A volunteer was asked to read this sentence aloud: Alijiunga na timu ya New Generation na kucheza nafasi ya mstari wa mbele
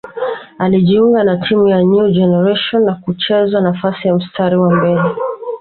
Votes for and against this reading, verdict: 2, 3, rejected